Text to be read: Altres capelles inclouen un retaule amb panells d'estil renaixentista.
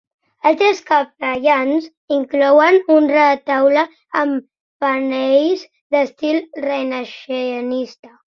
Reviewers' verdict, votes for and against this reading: rejected, 0, 2